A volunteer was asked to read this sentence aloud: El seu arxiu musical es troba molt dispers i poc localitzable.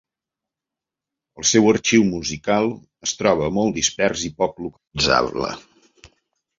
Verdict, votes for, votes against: rejected, 1, 2